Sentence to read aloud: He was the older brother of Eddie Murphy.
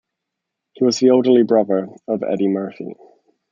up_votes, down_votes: 1, 2